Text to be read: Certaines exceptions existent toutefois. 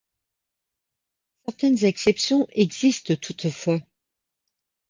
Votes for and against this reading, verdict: 1, 2, rejected